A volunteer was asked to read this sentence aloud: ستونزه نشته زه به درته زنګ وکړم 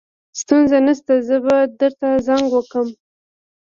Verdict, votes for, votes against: rejected, 1, 2